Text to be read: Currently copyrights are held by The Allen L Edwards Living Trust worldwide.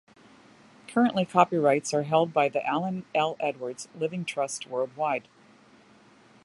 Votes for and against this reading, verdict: 2, 0, accepted